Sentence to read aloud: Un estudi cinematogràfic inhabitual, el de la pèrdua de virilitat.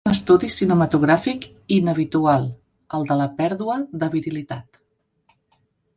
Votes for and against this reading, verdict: 1, 2, rejected